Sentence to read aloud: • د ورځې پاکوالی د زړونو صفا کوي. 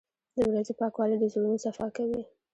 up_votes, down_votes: 2, 1